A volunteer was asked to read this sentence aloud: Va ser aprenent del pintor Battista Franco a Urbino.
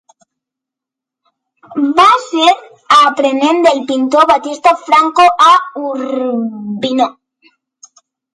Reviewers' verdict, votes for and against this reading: accepted, 2, 0